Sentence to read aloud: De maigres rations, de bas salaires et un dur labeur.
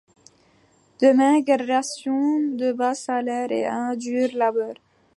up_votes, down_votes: 2, 0